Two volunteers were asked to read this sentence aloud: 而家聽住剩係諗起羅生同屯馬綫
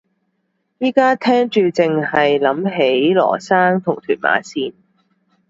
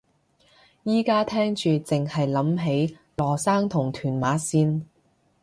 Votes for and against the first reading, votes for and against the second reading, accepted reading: 1, 2, 2, 0, second